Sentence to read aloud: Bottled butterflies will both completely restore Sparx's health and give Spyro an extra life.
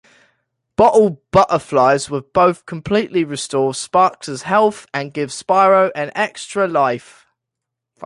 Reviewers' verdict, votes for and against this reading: accepted, 2, 0